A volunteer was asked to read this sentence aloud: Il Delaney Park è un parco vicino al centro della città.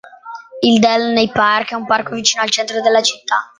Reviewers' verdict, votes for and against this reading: accepted, 2, 0